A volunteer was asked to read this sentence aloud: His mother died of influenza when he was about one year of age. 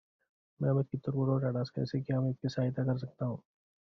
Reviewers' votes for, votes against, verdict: 0, 2, rejected